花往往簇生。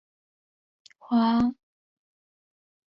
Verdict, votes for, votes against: rejected, 0, 4